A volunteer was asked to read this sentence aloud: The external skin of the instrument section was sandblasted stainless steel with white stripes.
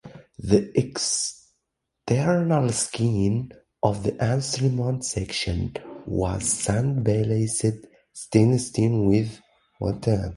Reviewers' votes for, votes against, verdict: 0, 2, rejected